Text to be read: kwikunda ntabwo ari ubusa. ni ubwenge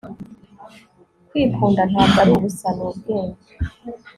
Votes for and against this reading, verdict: 2, 0, accepted